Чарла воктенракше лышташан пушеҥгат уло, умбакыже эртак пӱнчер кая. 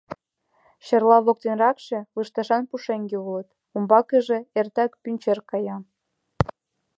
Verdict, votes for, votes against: rejected, 0, 2